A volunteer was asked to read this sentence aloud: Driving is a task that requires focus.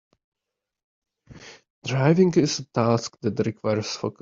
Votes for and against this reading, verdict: 1, 2, rejected